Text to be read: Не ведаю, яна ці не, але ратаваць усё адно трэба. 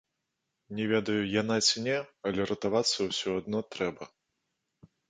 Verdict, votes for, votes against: rejected, 0, 2